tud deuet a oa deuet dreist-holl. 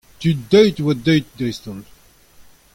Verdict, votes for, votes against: accepted, 2, 0